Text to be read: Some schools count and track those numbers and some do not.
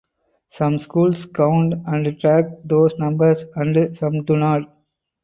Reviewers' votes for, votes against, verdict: 2, 2, rejected